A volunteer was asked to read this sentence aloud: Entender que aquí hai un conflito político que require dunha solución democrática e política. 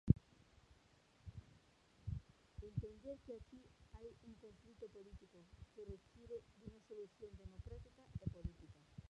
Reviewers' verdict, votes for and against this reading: rejected, 0, 2